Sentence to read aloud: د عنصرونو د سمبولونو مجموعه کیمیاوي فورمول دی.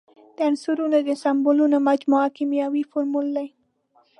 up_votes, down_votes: 2, 0